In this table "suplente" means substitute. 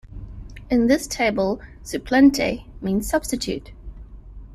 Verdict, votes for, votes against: accepted, 2, 0